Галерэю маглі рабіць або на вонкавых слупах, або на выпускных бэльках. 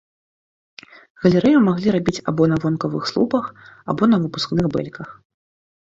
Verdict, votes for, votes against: rejected, 1, 2